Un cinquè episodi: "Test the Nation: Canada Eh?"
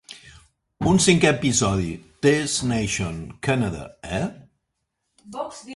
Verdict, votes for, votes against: rejected, 0, 3